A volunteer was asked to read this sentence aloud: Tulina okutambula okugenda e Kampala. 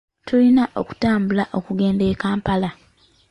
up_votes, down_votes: 0, 2